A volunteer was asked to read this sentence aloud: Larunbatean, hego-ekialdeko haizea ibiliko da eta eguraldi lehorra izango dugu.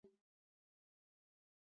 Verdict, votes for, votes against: rejected, 2, 4